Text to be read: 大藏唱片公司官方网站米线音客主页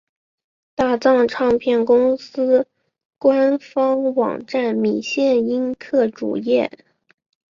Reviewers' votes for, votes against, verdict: 5, 0, accepted